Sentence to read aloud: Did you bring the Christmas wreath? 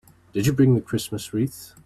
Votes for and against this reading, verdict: 2, 0, accepted